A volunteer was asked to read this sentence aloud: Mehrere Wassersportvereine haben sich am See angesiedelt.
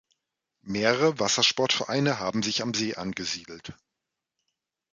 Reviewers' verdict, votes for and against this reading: rejected, 1, 2